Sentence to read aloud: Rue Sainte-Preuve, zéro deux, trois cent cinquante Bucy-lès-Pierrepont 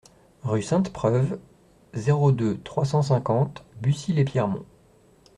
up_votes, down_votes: 0, 2